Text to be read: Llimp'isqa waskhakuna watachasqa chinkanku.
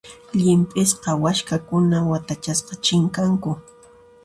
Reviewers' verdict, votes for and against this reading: accepted, 2, 0